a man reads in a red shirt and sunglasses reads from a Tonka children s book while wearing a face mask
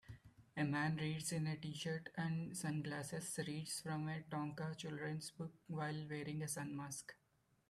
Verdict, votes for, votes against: rejected, 0, 2